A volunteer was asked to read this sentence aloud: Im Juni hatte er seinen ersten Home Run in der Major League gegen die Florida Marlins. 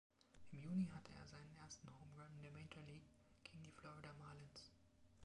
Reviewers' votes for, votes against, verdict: 1, 2, rejected